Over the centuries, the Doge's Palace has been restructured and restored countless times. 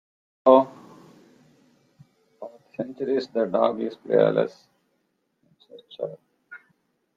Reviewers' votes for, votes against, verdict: 0, 2, rejected